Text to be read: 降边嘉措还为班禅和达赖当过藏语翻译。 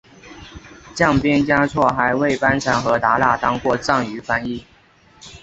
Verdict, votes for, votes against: accepted, 2, 0